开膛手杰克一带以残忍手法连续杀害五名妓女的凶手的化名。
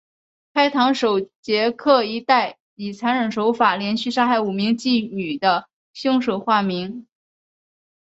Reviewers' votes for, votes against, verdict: 1, 2, rejected